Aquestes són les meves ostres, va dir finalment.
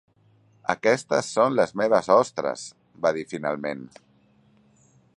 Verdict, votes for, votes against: accepted, 3, 0